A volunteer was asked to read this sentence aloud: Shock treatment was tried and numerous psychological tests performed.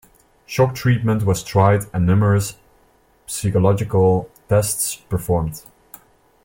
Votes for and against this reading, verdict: 2, 0, accepted